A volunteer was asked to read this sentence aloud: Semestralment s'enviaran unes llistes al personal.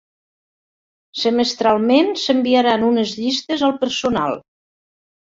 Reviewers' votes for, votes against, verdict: 3, 0, accepted